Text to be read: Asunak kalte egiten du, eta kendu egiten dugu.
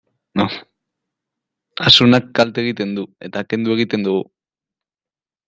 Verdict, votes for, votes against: accepted, 2, 0